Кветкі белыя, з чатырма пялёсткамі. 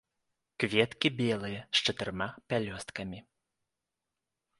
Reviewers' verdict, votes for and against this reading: accepted, 2, 0